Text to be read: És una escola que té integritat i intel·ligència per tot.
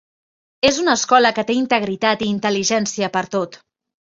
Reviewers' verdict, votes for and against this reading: accepted, 3, 0